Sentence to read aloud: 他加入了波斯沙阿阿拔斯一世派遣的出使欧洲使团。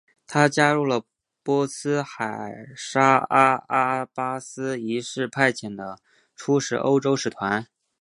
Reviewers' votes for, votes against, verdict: 0, 2, rejected